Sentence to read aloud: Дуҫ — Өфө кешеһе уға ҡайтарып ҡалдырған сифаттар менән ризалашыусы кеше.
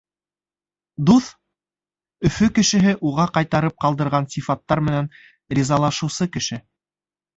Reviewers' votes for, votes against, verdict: 2, 0, accepted